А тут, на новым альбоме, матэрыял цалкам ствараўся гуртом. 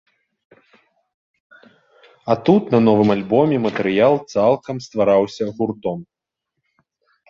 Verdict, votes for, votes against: accepted, 2, 0